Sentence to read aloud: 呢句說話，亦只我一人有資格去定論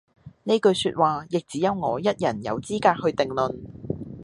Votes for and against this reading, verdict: 1, 2, rejected